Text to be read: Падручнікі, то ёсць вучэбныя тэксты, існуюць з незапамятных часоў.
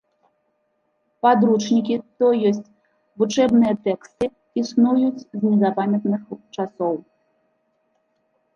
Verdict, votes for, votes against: rejected, 1, 2